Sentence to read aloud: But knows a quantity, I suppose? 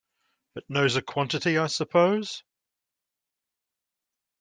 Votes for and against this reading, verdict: 2, 0, accepted